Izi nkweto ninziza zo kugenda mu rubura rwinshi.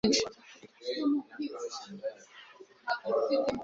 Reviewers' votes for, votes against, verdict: 1, 2, rejected